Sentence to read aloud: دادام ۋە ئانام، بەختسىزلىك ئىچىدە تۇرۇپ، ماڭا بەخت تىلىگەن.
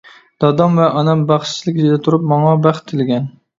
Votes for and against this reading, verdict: 0, 2, rejected